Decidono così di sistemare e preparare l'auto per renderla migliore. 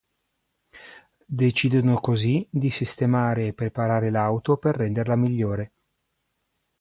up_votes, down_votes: 2, 0